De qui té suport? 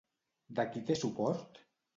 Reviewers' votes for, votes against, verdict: 2, 0, accepted